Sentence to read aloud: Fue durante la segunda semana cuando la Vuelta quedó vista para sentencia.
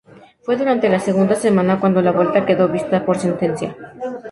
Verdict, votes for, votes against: rejected, 0, 2